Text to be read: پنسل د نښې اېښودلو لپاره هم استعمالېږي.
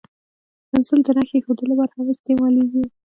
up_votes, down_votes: 1, 2